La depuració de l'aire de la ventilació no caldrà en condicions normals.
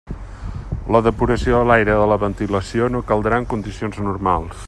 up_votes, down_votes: 0, 2